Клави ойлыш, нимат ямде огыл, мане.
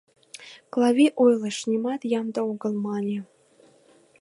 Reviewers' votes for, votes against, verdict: 2, 0, accepted